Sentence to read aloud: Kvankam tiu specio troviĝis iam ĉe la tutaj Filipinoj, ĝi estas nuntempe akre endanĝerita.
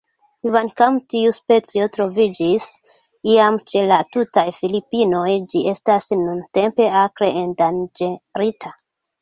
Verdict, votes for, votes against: rejected, 1, 2